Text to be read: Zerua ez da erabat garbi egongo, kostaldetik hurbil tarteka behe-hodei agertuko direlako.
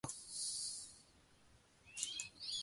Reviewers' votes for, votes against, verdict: 0, 2, rejected